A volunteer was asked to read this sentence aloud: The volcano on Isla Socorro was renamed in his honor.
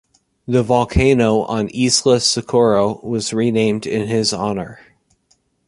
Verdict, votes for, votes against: rejected, 0, 2